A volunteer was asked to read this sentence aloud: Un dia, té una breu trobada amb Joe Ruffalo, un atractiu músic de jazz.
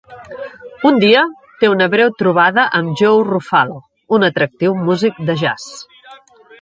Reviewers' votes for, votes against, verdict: 2, 0, accepted